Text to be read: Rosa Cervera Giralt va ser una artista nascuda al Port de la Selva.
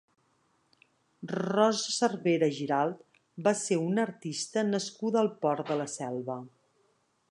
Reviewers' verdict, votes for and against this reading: accepted, 3, 0